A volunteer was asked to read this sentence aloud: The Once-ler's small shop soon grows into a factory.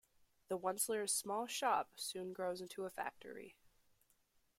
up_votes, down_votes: 2, 0